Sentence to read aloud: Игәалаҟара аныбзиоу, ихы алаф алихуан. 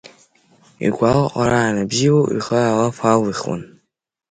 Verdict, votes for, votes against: accepted, 2, 0